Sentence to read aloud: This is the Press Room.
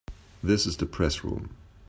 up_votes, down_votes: 3, 0